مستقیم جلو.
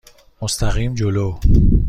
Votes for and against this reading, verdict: 2, 0, accepted